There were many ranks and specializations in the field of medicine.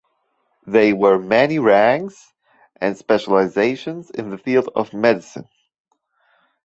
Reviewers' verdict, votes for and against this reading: accepted, 2, 1